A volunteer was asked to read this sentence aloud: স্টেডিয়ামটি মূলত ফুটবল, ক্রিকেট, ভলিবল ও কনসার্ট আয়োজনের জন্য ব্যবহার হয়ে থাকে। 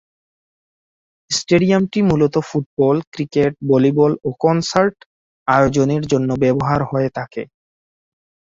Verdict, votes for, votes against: rejected, 2, 2